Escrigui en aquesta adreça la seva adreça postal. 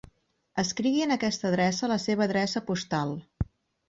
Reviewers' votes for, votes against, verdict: 6, 0, accepted